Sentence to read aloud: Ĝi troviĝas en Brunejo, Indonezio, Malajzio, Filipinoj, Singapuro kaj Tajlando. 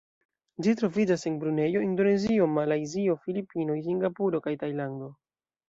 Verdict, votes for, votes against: accepted, 2, 0